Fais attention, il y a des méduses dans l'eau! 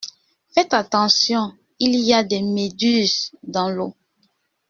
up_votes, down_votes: 1, 2